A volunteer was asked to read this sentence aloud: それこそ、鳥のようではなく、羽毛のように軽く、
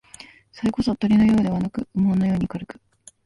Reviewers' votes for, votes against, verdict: 1, 2, rejected